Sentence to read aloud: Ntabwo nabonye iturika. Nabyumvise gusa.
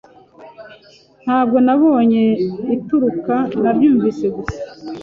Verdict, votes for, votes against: rejected, 1, 2